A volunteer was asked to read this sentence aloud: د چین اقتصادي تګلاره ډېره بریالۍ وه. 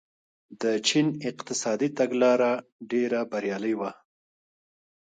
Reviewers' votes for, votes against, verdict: 0, 2, rejected